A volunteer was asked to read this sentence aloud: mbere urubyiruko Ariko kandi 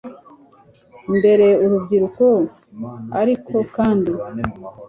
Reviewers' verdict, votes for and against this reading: accepted, 2, 0